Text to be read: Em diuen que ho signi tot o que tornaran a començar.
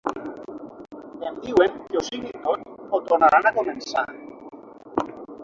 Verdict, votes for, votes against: rejected, 3, 6